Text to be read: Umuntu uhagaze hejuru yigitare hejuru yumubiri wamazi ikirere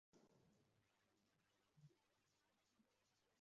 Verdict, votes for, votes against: rejected, 0, 2